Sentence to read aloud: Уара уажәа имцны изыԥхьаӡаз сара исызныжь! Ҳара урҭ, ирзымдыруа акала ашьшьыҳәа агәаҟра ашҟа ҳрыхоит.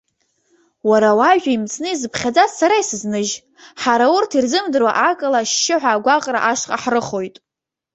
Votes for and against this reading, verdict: 2, 3, rejected